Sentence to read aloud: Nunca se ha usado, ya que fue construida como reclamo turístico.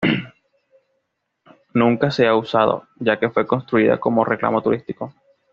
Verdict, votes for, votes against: accepted, 2, 0